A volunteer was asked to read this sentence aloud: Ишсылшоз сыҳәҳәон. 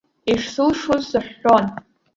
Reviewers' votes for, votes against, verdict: 2, 1, accepted